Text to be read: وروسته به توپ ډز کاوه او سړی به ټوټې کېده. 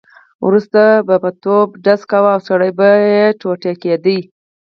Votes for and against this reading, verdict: 2, 4, rejected